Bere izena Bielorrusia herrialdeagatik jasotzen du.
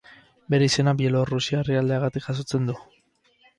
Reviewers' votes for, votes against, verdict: 6, 2, accepted